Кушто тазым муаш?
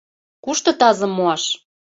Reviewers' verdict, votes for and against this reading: accepted, 2, 0